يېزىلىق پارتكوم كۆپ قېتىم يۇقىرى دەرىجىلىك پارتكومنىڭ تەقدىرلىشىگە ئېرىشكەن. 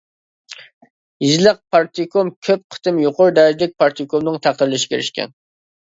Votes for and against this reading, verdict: 3, 2, accepted